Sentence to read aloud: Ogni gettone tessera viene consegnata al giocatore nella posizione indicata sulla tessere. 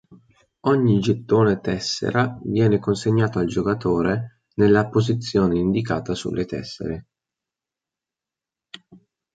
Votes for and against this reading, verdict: 0, 2, rejected